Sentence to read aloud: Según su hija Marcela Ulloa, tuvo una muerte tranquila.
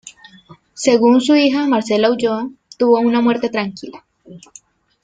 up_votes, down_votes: 2, 0